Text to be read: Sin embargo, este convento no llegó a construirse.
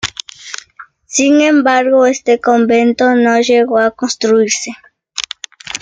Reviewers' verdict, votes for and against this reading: accepted, 2, 0